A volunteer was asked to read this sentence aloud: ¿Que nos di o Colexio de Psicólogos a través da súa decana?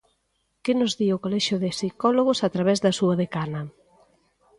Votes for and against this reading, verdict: 2, 0, accepted